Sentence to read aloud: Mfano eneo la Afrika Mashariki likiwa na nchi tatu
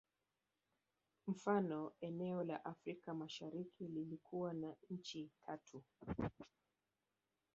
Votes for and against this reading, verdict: 4, 3, accepted